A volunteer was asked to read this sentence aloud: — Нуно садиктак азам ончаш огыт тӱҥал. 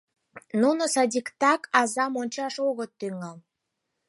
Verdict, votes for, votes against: accepted, 4, 0